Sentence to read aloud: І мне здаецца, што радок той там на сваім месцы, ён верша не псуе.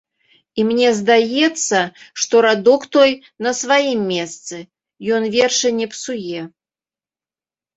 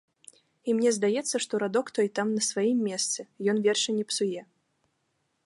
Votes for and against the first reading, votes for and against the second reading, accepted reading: 0, 2, 2, 0, second